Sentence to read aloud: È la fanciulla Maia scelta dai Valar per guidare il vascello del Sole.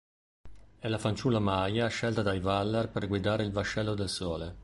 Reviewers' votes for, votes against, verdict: 1, 2, rejected